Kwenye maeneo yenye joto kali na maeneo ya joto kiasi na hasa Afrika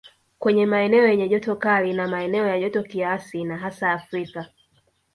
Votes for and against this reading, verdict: 2, 0, accepted